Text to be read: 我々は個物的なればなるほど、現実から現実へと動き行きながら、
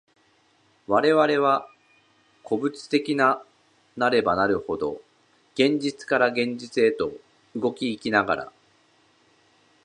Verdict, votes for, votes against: rejected, 0, 2